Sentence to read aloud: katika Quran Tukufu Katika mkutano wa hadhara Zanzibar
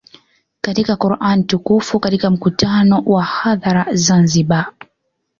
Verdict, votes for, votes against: accepted, 2, 0